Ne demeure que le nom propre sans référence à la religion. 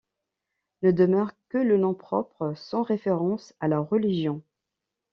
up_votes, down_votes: 2, 1